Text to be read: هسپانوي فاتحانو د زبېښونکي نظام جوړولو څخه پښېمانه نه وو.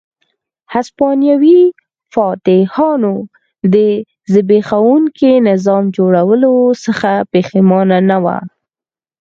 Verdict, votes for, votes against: accepted, 4, 0